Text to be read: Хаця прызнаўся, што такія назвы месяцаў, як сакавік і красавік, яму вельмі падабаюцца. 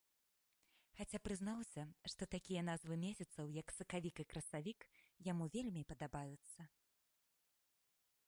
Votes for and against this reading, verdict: 3, 1, accepted